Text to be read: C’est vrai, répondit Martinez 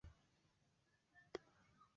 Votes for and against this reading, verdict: 1, 2, rejected